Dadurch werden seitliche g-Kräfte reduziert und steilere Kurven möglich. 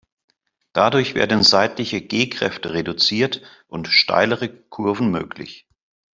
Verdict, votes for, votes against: accepted, 2, 0